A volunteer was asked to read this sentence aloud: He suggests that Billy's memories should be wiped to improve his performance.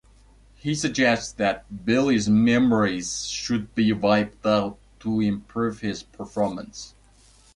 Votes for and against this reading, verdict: 0, 2, rejected